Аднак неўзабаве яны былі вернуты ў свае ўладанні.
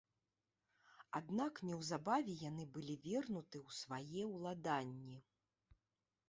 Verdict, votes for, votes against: accepted, 3, 1